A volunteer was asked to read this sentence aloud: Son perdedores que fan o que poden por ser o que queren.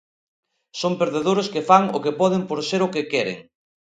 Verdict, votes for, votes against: accepted, 2, 0